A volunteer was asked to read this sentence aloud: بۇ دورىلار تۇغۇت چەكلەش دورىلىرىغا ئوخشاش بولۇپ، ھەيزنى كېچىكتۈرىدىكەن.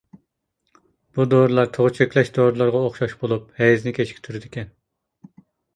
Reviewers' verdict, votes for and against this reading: rejected, 0, 2